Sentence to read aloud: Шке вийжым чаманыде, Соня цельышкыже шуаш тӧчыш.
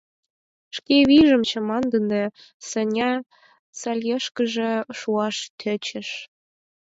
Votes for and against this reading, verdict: 0, 4, rejected